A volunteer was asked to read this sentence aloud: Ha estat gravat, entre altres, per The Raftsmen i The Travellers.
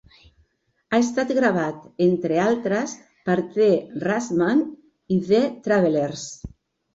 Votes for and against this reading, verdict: 1, 2, rejected